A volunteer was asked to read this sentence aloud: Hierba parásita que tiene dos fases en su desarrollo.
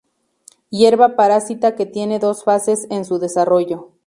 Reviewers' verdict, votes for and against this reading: accepted, 2, 0